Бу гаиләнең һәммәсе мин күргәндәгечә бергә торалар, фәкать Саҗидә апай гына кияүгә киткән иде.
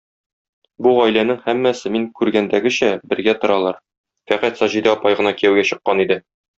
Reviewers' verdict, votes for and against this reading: rejected, 0, 2